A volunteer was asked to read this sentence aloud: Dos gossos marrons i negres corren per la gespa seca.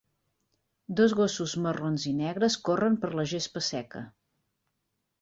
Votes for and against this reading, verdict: 3, 0, accepted